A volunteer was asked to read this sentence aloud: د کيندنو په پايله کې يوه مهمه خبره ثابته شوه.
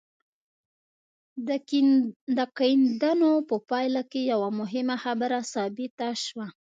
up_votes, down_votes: 1, 2